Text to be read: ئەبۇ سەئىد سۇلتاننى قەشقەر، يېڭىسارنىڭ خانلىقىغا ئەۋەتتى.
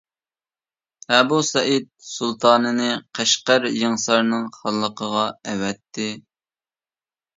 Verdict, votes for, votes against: rejected, 0, 2